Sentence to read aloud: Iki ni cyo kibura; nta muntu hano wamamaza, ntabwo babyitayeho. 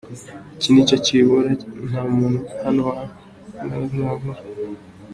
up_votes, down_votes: 0, 2